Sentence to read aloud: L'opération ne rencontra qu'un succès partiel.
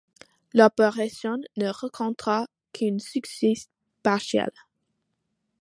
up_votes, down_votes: 1, 2